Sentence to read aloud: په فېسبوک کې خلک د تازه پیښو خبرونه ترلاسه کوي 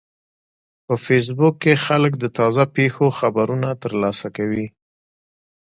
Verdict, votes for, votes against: accepted, 2, 0